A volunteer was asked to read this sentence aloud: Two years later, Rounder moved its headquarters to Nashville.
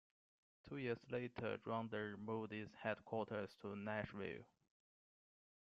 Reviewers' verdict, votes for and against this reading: rejected, 1, 2